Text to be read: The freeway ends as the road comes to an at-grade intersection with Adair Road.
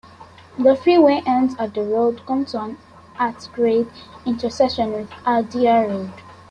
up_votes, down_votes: 2, 1